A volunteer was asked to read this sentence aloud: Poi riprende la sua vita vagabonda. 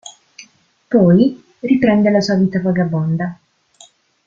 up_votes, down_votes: 2, 0